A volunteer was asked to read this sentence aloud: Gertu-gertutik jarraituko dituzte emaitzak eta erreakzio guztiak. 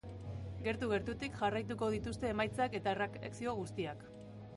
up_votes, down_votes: 0, 2